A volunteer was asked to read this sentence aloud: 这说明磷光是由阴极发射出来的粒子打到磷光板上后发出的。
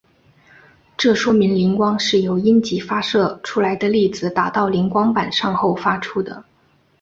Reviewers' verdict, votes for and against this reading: accepted, 3, 0